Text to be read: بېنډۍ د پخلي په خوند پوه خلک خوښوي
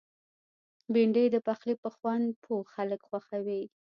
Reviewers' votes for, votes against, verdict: 1, 2, rejected